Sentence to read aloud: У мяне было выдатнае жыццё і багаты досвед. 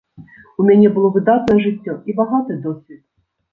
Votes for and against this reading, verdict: 2, 0, accepted